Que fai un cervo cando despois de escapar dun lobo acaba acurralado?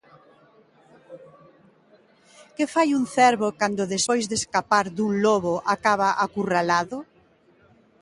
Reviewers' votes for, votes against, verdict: 2, 1, accepted